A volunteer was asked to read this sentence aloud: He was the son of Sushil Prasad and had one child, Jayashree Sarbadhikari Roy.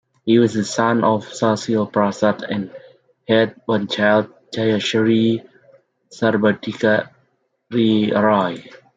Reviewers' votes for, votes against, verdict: 1, 2, rejected